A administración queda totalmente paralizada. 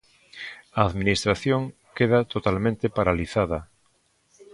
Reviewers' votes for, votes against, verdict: 2, 0, accepted